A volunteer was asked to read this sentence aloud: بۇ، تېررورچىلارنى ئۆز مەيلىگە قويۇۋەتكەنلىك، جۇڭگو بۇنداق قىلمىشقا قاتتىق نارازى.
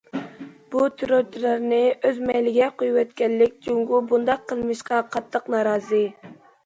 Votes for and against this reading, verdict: 2, 0, accepted